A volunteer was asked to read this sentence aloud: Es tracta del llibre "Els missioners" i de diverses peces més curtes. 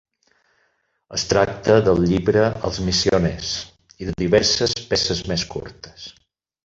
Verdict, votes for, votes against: accepted, 4, 2